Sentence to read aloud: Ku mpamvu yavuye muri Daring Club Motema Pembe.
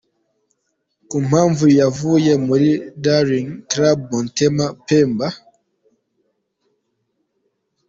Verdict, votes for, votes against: accepted, 2, 0